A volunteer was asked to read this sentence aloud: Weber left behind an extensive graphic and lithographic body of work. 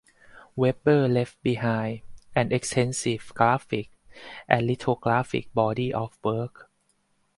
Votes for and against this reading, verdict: 0, 4, rejected